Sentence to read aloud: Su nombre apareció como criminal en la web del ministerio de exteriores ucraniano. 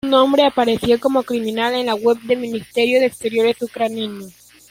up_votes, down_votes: 2, 1